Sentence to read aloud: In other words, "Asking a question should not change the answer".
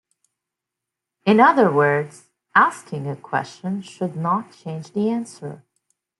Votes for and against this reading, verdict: 2, 0, accepted